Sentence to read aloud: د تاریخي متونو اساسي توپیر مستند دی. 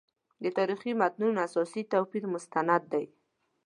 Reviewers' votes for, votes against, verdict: 2, 0, accepted